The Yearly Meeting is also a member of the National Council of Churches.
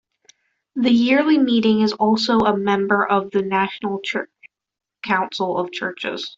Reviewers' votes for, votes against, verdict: 0, 2, rejected